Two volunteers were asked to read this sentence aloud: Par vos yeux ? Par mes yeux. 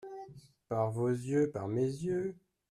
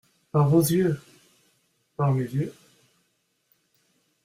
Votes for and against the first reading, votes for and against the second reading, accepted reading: 2, 1, 0, 2, first